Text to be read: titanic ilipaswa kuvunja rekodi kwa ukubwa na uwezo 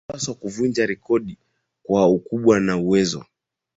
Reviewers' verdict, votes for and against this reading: rejected, 8, 9